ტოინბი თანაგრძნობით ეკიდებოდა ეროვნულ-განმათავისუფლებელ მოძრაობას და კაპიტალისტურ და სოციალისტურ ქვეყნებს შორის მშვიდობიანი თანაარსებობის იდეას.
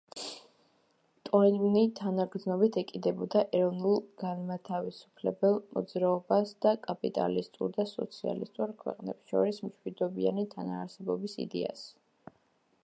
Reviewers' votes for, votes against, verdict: 2, 0, accepted